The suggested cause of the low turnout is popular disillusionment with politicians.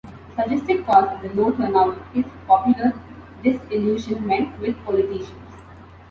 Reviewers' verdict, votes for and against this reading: rejected, 1, 2